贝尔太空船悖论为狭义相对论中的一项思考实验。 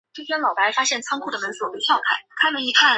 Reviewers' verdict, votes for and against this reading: rejected, 0, 2